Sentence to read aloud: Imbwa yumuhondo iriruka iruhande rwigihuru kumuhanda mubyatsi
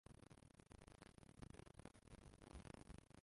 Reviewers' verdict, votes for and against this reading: rejected, 0, 2